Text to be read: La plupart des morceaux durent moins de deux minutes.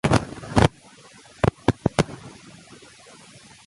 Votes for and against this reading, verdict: 0, 2, rejected